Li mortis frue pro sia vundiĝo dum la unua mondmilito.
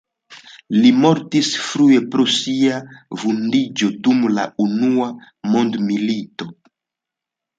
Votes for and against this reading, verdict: 2, 0, accepted